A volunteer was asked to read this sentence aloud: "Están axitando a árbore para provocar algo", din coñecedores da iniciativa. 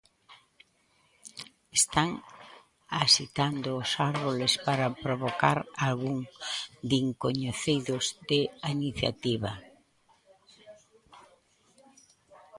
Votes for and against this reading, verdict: 0, 2, rejected